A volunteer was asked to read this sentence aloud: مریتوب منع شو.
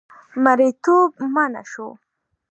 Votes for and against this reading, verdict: 3, 0, accepted